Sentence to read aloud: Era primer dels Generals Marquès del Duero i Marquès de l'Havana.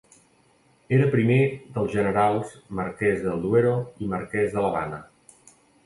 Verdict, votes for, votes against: rejected, 1, 2